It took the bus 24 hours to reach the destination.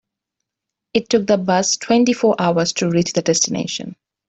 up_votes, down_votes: 0, 2